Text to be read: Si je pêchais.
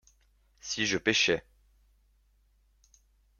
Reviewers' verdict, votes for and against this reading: accepted, 2, 0